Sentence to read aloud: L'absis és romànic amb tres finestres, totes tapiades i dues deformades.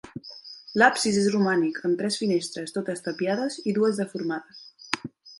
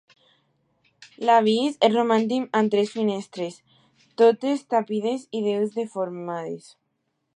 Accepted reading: first